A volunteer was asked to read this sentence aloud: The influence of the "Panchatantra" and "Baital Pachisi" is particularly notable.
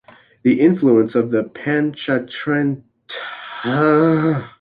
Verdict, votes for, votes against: rejected, 0, 2